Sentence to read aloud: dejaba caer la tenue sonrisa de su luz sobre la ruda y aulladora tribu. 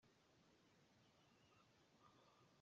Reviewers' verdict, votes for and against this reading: rejected, 0, 2